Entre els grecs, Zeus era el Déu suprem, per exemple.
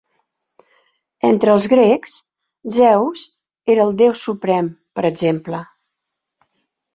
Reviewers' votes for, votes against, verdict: 4, 0, accepted